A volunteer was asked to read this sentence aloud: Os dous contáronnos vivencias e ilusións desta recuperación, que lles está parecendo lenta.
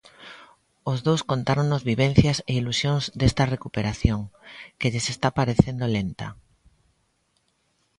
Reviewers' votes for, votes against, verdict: 2, 0, accepted